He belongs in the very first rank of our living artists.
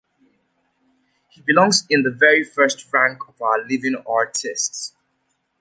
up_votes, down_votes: 2, 0